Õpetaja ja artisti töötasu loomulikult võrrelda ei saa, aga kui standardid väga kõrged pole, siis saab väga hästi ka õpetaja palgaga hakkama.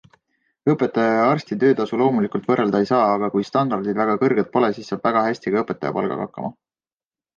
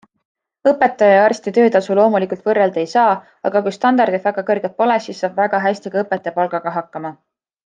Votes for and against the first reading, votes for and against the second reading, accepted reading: 0, 2, 2, 0, second